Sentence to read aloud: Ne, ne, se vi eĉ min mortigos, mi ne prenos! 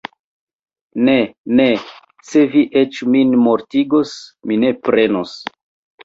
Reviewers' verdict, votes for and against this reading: accepted, 2, 0